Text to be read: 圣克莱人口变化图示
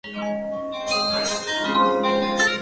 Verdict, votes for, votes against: rejected, 0, 5